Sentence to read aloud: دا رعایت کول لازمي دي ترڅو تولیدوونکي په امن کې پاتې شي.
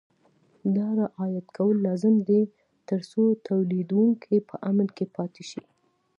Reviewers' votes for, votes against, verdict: 2, 1, accepted